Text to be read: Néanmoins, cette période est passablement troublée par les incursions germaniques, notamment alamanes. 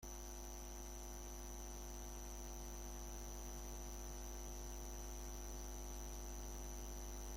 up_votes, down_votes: 0, 2